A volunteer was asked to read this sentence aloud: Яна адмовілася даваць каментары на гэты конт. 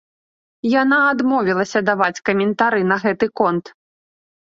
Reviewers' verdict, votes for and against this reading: accepted, 2, 0